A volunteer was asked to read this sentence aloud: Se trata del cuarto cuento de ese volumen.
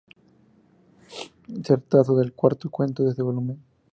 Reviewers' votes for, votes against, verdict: 2, 0, accepted